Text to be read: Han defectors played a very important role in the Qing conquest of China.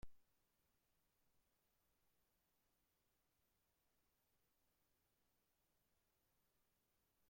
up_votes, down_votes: 0, 2